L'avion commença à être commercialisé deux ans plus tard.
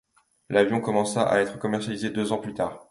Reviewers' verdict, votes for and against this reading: accepted, 2, 0